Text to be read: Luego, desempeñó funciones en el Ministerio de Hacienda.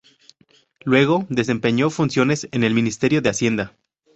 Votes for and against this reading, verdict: 0, 2, rejected